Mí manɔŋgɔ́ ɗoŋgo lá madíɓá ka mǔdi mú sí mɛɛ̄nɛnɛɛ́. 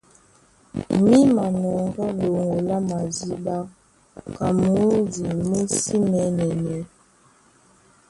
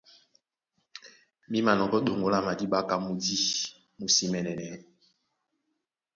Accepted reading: second